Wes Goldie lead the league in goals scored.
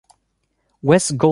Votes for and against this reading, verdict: 0, 2, rejected